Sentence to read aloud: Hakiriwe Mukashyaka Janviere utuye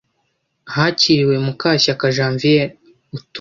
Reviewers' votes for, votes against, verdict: 0, 2, rejected